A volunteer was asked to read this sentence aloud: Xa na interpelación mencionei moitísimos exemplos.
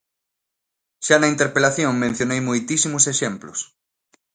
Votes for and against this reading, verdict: 2, 0, accepted